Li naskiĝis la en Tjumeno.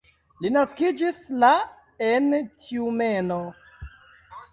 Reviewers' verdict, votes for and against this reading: rejected, 1, 2